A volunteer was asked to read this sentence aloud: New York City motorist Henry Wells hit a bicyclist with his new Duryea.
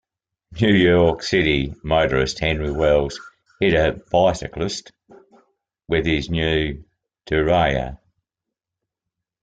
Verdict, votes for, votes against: rejected, 0, 2